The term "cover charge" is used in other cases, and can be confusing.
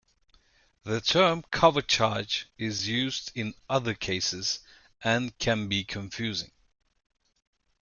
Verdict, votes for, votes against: accepted, 2, 0